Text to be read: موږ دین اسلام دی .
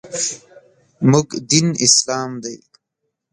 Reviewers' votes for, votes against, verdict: 2, 1, accepted